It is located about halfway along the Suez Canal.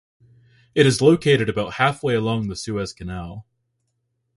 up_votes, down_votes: 2, 0